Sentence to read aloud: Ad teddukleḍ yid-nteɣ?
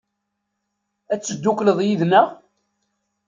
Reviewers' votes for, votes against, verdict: 0, 2, rejected